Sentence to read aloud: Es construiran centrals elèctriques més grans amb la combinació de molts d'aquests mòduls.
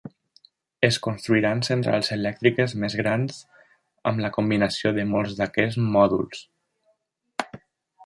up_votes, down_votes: 3, 0